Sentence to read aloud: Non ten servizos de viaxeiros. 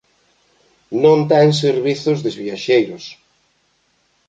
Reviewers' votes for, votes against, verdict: 0, 3, rejected